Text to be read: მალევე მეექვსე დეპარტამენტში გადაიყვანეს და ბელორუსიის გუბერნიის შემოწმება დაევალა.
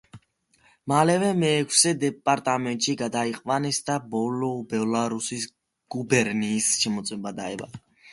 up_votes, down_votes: 1, 2